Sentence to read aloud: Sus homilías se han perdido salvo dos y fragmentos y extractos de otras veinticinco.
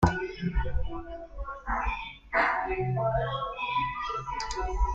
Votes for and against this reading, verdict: 0, 2, rejected